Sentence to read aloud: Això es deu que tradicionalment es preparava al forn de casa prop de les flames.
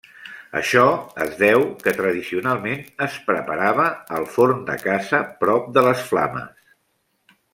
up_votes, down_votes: 1, 2